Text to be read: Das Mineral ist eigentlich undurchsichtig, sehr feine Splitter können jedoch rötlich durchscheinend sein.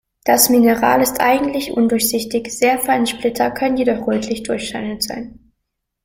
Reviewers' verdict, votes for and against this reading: accepted, 2, 0